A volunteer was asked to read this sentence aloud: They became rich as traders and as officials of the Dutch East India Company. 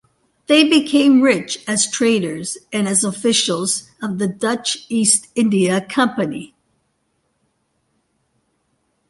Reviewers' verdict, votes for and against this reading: accepted, 2, 0